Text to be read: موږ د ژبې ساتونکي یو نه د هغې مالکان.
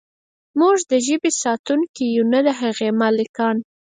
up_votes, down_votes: 2, 4